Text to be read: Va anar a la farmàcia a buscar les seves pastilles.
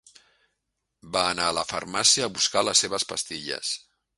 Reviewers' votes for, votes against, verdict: 3, 0, accepted